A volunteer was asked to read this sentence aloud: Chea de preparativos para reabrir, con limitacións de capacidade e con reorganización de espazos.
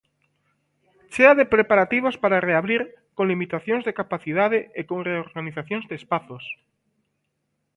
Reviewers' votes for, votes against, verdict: 2, 1, accepted